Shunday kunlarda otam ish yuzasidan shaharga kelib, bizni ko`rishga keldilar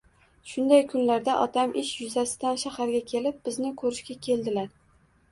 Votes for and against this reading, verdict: 2, 0, accepted